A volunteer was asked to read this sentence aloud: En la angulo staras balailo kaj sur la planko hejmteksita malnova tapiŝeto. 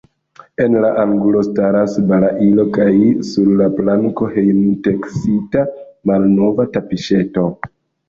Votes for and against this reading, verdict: 1, 2, rejected